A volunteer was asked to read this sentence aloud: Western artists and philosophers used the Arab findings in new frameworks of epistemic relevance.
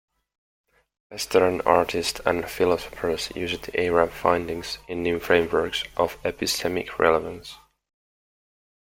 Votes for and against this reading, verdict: 2, 1, accepted